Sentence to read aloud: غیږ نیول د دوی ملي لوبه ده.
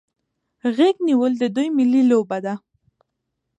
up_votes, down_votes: 2, 0